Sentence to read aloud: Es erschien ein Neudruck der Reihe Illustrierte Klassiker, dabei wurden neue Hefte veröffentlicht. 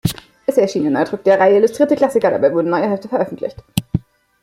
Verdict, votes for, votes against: accepted, 2, 0